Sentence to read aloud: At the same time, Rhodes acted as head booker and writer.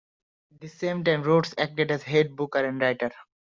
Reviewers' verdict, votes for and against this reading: accepted, 2, 1